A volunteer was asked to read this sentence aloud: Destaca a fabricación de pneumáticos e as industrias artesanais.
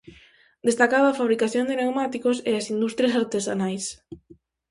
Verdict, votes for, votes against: rejected, 0, 4